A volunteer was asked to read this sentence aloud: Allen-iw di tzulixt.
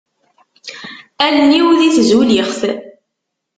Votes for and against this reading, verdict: 2, 0, accepted